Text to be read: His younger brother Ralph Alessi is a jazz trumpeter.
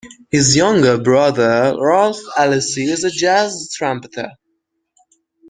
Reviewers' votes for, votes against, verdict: 0, 2, rejected